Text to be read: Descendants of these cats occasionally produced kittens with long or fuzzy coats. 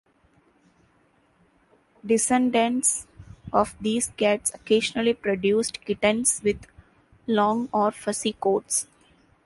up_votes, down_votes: 2, 0